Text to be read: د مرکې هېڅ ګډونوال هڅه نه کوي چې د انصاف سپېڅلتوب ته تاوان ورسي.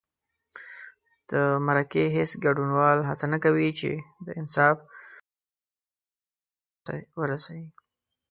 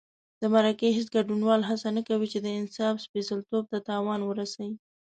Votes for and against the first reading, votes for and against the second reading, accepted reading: 1, 2, 2, 0, second